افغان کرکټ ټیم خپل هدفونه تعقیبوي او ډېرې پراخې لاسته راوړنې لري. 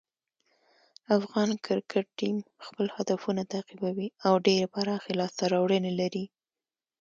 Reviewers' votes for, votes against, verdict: 2, 1, accepted